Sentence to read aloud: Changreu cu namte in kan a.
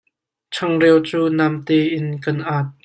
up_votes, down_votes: 0, 3